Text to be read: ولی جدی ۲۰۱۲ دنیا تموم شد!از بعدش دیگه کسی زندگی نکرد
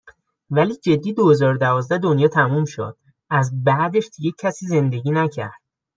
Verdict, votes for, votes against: rejected, 0, 2